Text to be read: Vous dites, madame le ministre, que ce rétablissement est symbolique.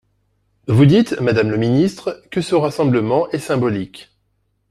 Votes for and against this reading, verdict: 0, 2, rejected